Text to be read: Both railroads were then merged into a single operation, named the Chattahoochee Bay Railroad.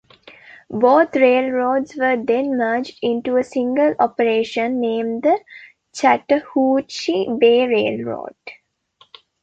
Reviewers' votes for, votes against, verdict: 2, 1, accepted